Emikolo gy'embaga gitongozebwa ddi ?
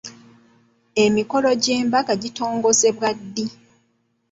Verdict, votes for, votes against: accepted, 2, 0